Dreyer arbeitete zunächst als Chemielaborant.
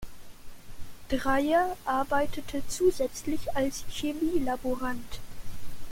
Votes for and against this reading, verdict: 0, 2, rejected